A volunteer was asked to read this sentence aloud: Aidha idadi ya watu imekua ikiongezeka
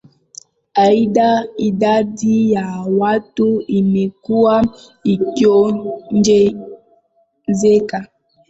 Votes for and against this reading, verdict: 0, 2, rejected